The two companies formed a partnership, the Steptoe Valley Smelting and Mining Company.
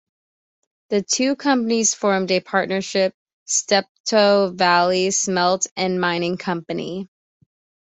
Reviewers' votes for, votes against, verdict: 1, 2, rejected